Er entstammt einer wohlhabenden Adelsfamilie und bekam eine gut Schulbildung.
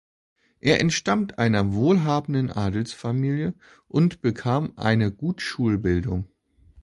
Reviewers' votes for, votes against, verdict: 2, 0, accepted